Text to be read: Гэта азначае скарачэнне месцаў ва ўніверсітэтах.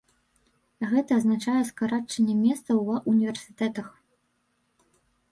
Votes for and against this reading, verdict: 1, 3, rejected